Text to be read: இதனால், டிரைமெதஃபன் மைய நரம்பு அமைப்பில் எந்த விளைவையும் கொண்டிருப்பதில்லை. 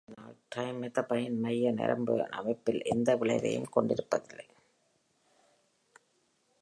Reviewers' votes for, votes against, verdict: 0, 2, rejected